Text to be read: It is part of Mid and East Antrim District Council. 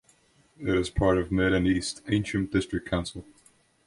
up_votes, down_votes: 1, 2